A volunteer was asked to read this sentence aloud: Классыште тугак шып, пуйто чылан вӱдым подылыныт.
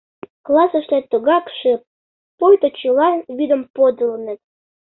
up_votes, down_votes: 2, 0